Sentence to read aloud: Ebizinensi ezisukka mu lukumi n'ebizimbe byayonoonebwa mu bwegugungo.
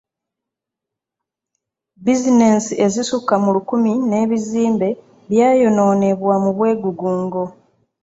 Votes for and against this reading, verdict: 1, 2, rejected